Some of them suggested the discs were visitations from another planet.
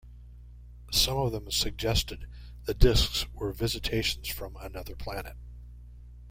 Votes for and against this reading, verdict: 2, 0, accepted